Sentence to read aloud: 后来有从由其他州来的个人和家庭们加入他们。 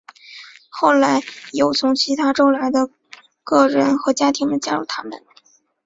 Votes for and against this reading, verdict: 2, 1, accepted